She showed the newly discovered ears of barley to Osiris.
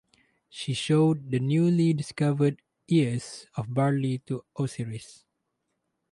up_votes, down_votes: 0, 2